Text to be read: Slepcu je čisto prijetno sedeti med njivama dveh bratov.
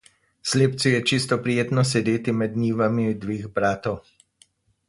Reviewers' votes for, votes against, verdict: 2, 2, rejected